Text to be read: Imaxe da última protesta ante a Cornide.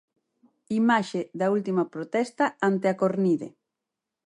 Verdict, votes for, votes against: accepted, 4, 0